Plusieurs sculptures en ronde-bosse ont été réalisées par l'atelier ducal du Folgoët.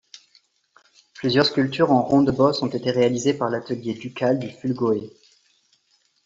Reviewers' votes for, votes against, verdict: 0, 2, rejected